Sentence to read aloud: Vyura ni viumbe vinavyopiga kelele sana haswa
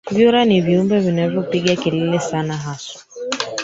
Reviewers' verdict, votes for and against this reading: rejected, 1, 2